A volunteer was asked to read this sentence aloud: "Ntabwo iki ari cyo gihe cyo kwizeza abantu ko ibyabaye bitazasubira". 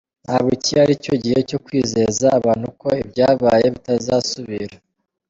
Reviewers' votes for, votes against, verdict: 2, 0, accepted